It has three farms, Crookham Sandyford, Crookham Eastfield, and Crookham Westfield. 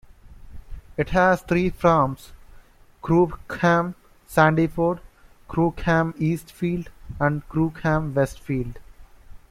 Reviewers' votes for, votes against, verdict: 2, 0, accepted